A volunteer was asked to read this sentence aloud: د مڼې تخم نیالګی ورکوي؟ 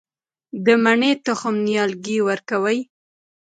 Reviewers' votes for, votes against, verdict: 2, 0, accepted